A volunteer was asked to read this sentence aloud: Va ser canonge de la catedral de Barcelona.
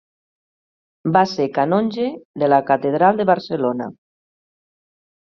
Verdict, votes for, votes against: accepted, 3, 0